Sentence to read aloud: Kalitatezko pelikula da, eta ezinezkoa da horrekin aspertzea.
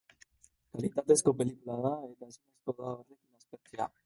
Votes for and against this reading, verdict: 0, 2, rejected